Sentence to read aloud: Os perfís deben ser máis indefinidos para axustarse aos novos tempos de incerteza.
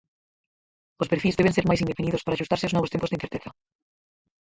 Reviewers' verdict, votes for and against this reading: rejected, 0, 4